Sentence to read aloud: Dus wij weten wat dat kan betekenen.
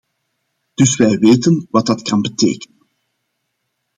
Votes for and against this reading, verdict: 0, 2, rejected